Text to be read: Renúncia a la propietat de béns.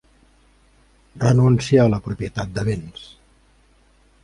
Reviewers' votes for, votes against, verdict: 2, 0, accepted